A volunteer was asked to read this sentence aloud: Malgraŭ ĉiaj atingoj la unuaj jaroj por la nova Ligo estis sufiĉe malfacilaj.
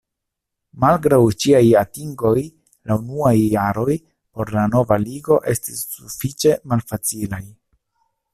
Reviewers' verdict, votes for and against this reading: accepted, 2, 0